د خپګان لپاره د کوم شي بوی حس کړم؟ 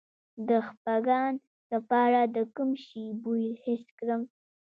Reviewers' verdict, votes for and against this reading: rejected, 1, 2